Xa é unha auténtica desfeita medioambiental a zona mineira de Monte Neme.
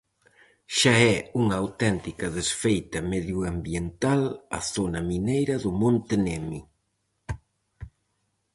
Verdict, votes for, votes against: rejected, 0, 4